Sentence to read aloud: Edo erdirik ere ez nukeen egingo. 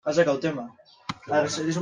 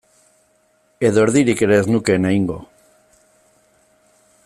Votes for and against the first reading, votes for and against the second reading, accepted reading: 1, 2, 2, 1, second